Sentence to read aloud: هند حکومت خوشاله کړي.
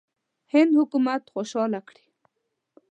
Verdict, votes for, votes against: accepted, 2, 0